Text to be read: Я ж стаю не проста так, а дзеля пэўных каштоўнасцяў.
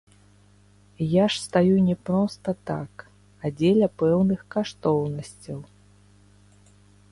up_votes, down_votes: 1, 2